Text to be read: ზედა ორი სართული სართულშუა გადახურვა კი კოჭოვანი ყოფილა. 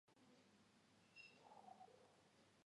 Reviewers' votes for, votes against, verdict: 0, 2, rejected